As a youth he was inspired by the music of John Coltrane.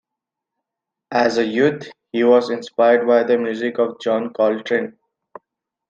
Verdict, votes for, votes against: accepted, 2, 0